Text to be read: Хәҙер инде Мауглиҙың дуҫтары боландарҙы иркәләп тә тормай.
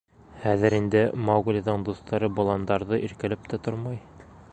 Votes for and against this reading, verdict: 3, 0, accepted